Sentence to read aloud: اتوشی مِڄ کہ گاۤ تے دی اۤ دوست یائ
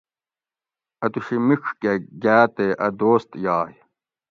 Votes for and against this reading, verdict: 0, 2, rejected